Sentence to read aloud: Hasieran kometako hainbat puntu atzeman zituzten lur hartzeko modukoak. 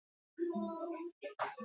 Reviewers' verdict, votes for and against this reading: rejected, 0, 2